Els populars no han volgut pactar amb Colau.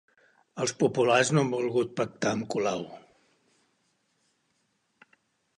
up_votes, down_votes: 3, 0